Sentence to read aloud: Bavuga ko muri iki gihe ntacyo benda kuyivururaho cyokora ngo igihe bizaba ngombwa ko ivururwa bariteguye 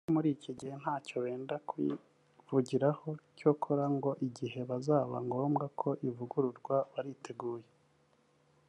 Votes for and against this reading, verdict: 2, 0, accepted